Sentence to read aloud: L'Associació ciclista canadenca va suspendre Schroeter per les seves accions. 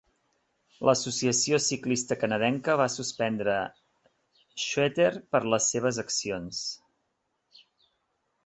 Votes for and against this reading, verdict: 2, 1, accepted